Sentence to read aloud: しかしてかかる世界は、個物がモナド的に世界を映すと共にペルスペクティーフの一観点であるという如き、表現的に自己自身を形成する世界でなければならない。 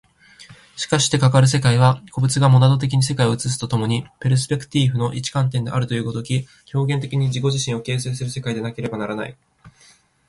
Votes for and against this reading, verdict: 15, 2, accepted